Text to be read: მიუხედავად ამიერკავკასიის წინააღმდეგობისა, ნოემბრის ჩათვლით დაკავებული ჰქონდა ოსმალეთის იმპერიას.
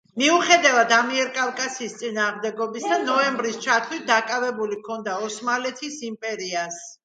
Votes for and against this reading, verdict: 2, 0, accepted